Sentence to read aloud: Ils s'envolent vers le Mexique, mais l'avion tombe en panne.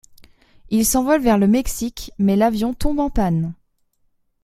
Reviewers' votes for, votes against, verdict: 2, 0, accepted